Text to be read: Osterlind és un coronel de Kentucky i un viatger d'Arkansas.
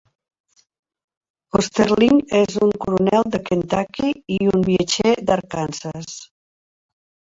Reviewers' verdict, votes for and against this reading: accepted, 2, 0